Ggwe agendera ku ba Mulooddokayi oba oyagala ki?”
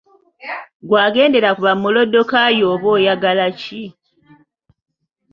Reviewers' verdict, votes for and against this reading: accepted, 2, 0